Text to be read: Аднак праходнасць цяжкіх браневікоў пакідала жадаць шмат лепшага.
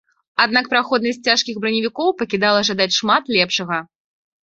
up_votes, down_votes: 2, 0